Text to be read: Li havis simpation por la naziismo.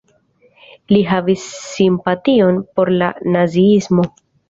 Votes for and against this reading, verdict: 2, 0, accepted